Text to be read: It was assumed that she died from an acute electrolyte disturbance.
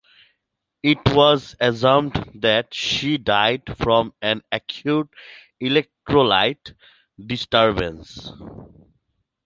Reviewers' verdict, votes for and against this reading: rejected, 0, 2